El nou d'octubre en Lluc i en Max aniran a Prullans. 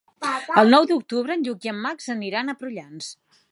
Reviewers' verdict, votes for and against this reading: rejected, 0, 2